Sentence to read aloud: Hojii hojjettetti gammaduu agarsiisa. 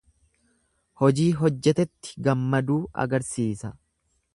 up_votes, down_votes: 0, 2